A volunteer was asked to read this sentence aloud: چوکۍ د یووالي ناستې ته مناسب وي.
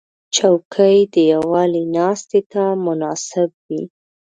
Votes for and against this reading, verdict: 2, 1, accepted